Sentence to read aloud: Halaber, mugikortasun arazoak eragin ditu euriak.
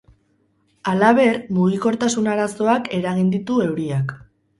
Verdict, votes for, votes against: rejected, 2, 2